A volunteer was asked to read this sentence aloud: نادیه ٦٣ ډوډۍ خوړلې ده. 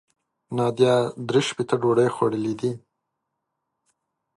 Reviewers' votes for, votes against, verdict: 0, 2, rejected